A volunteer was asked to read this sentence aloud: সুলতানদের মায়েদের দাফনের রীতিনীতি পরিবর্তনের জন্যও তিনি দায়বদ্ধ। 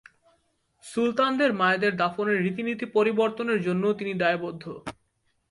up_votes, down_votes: 2, 1